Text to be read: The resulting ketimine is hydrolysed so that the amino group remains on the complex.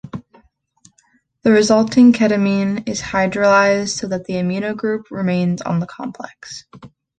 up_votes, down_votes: 2, 0